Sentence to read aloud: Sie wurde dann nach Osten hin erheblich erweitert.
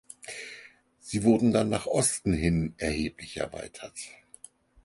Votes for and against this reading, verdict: 0, 4, rejected